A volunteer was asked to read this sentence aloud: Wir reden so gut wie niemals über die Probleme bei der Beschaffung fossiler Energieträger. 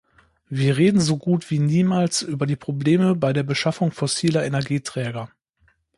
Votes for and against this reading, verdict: 2, 0, accepted